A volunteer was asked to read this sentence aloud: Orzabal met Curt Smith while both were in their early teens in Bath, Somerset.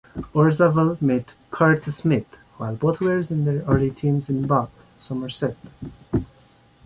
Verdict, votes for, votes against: accepted, 2, 0